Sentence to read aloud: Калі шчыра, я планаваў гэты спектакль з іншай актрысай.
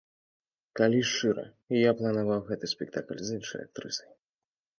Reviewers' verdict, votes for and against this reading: accepted, 2, 0